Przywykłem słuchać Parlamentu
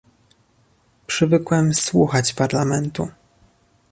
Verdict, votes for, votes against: accepted, 2, 0